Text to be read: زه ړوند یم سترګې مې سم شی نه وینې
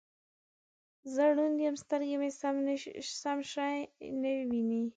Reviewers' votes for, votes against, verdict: 1, 2, rejected